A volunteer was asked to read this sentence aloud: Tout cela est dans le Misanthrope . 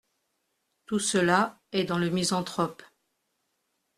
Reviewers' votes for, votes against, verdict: 2, 1, accepted